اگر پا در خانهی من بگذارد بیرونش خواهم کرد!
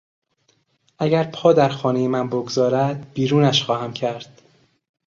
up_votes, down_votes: 2, 0